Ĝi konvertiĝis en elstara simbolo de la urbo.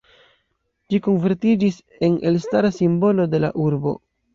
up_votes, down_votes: 1, 2